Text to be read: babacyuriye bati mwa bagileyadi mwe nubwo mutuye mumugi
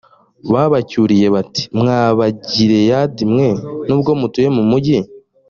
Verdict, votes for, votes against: accepted, 2, 0